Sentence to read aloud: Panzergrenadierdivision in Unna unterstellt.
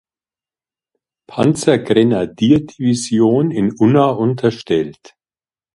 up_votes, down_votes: 2, 0